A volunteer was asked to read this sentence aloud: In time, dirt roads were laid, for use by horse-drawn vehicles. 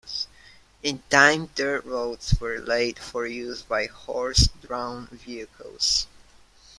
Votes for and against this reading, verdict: 2, 0, accepted